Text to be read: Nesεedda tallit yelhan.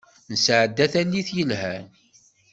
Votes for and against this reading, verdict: 2, 0, accepted